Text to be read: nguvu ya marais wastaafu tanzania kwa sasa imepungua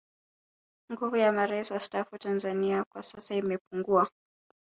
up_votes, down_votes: 2, 0